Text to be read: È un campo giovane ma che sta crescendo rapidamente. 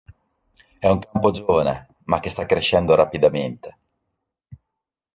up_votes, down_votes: 0, 2